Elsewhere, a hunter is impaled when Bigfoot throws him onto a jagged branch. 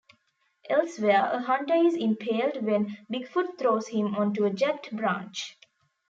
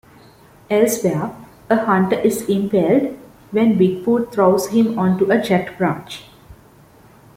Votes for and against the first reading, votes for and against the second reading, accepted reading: 1, 2, 2, 0, second